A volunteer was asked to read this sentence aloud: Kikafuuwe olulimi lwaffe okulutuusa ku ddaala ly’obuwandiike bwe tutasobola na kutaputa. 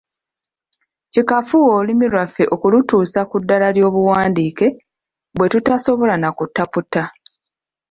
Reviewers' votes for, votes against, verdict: 2, 0, accepted